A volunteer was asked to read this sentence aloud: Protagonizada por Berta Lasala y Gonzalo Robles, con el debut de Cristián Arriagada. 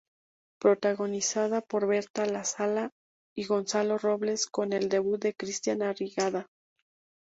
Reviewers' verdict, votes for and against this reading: accepted, 4, 2